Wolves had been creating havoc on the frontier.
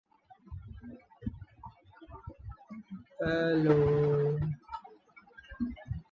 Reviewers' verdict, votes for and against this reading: rejected, 0, 2